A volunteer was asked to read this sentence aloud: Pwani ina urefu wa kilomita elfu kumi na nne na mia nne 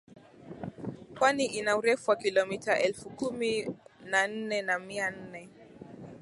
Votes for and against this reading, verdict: 2, 0, accepted